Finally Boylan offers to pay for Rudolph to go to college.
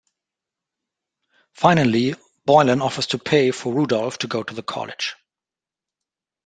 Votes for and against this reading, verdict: 2, 0, accepted